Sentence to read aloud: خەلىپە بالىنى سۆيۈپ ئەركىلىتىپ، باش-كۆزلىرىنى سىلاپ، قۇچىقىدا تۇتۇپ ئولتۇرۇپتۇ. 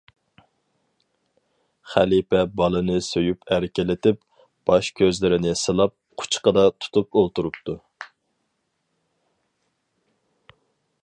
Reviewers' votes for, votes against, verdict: 4, 0, accepted